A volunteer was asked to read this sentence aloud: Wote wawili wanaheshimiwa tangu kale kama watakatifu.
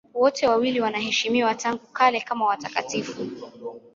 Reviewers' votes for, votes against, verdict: 2, 0, accepted